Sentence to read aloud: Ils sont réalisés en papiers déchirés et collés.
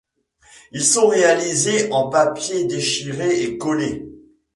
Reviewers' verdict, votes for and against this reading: rejected, 1, 2